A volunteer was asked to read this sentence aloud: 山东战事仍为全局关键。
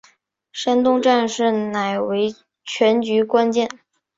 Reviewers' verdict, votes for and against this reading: accepted, 6, 1